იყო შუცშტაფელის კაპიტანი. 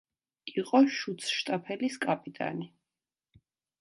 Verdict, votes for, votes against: accepted, 2, 1